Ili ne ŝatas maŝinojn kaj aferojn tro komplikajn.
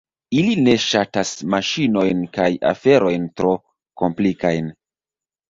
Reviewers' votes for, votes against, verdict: 2, 0, accepted